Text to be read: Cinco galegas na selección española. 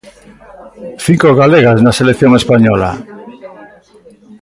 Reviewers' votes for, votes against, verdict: 2, 1, accepted